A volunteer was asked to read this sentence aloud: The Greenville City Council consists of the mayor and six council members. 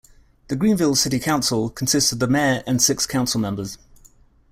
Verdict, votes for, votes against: accepted, 2, 0